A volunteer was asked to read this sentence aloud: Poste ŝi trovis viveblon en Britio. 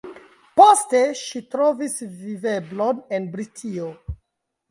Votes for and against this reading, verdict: 1, 2, rejected